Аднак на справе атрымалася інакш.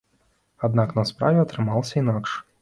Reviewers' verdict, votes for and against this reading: accepted, 2, 1